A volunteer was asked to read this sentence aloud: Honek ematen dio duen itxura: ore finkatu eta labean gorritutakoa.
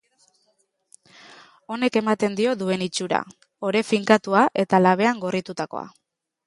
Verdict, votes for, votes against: rejected, 0, 2